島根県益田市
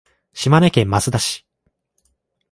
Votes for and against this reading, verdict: 2, 0, accepted